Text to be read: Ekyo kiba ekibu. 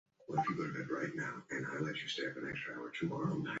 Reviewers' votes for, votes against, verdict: 0, 3, rejected